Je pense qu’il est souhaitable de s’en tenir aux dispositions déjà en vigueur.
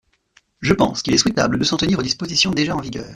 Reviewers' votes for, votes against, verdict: 2, 0, accepted